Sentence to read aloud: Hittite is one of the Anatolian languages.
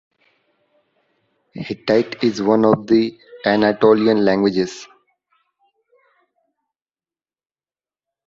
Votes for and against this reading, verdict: 2, 1, accepted